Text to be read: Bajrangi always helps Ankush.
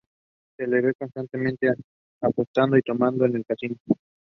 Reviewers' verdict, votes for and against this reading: rejected, 0, 2